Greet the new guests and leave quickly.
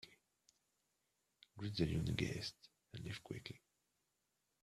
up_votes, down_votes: 1, 2